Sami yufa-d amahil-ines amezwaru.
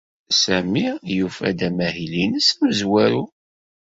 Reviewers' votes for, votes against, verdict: 2, 0, accepted